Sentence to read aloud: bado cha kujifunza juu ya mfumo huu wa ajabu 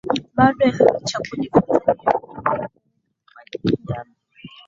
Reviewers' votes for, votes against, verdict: 6, 10, rejected